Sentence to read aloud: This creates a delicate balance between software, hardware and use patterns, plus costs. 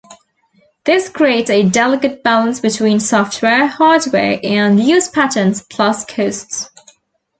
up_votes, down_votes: 1, 2